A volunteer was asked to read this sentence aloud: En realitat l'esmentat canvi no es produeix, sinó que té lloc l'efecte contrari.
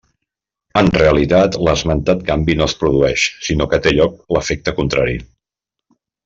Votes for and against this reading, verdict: 3, 0, accepted